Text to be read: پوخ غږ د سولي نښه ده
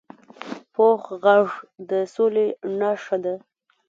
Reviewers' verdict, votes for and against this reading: rejected, 1, 2